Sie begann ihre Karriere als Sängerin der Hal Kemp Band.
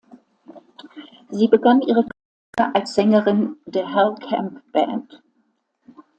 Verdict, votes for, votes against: rejected, 0, 2